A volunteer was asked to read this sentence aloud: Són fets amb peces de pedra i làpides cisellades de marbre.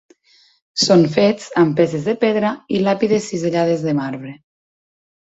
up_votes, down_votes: 2, 0